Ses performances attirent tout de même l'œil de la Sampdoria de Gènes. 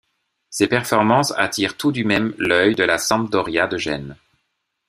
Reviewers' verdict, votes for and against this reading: rejected, 1, 2